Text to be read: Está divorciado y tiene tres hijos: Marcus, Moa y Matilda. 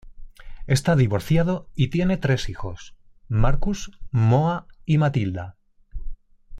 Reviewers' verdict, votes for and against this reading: accepted, 2, 1